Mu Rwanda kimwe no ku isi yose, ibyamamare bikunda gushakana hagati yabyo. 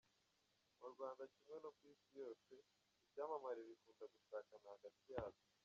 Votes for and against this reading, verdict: 1, 2, rejected